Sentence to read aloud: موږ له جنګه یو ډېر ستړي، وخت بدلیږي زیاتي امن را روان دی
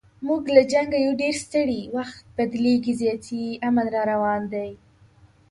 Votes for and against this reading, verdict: 2, 0, accepted